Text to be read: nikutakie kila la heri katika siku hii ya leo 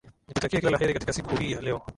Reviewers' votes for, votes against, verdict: 2, 0, accepted